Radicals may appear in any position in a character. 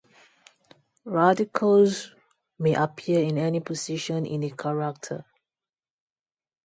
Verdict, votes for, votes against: accepted, 4, 0